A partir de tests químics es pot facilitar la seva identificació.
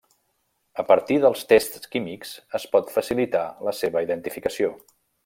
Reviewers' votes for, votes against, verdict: 1, 2, rejected